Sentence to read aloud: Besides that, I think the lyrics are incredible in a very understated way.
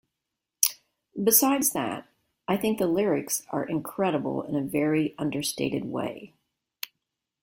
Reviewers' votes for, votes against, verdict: 2, 0, accepted